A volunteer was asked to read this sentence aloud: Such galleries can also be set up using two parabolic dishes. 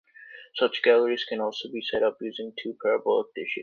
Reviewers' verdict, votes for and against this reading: accepted, 2, 0